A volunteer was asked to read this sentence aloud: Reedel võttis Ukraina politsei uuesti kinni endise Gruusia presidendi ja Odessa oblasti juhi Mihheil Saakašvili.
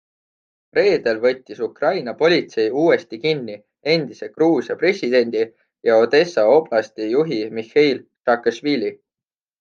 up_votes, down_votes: 2, 0